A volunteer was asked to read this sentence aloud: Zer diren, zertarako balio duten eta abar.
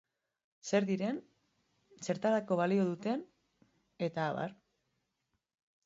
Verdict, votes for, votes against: accepted, 3, 0